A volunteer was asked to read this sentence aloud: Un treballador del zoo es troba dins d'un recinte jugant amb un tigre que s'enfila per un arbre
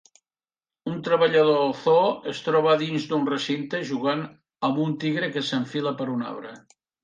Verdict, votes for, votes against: rejected, 1, 2